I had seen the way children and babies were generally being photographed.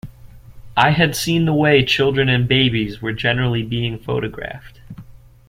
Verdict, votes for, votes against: accepted, 2, 0